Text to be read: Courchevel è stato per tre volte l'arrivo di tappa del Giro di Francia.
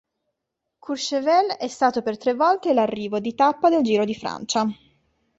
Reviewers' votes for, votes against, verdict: 2, 0, accepted